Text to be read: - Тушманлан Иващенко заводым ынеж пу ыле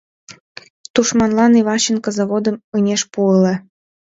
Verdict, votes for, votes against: rejected, 0, 2